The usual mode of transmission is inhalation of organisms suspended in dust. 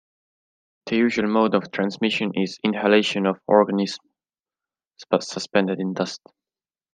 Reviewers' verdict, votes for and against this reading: rejected, 0, 2